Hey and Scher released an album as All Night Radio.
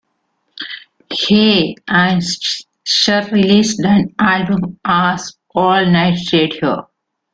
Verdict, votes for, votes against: rejected, 0, 2